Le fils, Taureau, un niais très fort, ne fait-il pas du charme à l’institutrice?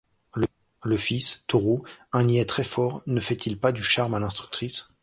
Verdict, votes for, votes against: rejected, 1, 2